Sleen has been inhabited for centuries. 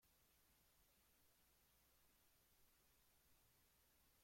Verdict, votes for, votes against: rejected, 0, 2